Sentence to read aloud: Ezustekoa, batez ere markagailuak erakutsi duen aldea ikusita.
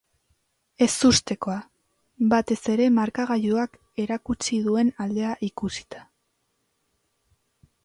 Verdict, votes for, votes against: accepted, 2, 0